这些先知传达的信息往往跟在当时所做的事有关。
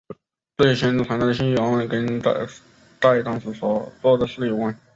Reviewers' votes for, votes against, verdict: 0, 3, rejected